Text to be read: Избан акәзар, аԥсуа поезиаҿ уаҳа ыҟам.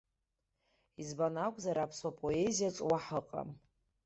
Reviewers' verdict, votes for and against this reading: accepted, 3, 0